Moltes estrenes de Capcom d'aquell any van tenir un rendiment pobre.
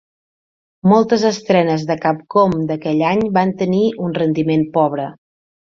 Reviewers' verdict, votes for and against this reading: accepted, 3, 0